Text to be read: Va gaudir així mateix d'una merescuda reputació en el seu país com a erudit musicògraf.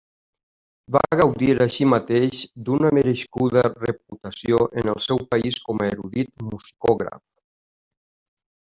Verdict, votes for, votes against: accepted, 2, 1